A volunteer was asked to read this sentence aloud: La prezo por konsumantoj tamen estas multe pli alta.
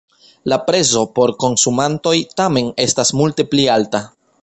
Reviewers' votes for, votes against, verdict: 2, 0, accepted